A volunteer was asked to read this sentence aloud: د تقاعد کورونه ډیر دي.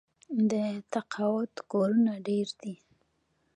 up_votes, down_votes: 2, 0